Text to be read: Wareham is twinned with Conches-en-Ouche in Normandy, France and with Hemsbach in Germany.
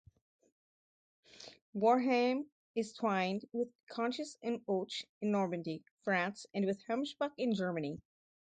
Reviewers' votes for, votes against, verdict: 2, 0, accepted